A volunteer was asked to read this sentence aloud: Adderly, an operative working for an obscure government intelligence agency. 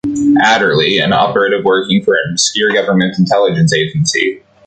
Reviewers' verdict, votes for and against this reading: rejected, 1, 2